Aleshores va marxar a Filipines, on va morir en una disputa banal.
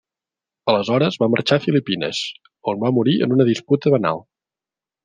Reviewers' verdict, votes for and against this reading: accepted, 3, 0